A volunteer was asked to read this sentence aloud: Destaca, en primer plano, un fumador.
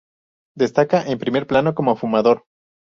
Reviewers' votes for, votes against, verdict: 0, 2, rejected